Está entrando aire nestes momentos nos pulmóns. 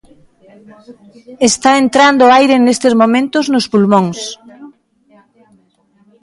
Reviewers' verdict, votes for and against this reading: accepted, 2, 1